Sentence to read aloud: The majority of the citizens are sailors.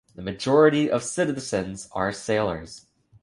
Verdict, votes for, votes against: accepted, 3, 2